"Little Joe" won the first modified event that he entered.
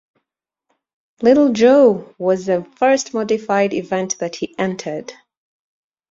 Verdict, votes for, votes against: rejected, 0, 2